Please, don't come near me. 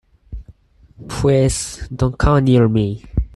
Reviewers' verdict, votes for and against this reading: rejected, 2, 4